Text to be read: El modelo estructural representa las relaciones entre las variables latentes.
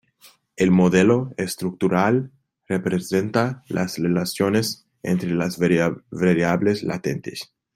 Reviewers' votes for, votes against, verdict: 2, 0, accepted